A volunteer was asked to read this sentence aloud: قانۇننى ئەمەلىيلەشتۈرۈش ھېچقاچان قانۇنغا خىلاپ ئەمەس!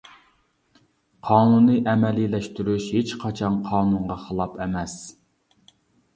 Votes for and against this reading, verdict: 2, 0, accepted